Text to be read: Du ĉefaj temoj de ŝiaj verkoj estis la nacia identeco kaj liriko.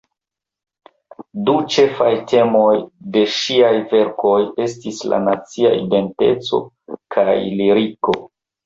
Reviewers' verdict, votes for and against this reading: rejected, 1, 2